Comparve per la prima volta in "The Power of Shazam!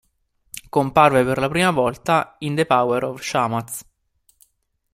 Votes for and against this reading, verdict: 0, 2, rejected